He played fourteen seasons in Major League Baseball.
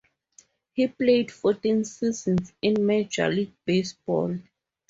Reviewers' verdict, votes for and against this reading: rejected, 2, 2